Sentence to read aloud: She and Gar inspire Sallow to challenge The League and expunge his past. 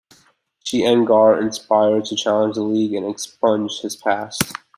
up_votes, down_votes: 3, 2